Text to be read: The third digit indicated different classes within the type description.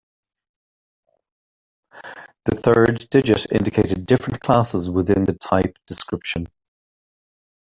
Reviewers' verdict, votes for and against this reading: accepted, 2, 1